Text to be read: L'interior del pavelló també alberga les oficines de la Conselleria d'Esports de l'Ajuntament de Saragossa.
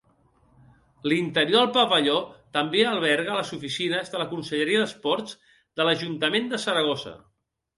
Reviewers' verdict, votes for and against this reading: rejected, 2, 4